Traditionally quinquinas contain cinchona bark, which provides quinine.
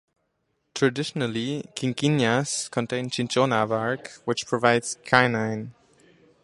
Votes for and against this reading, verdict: 2, 0, accepted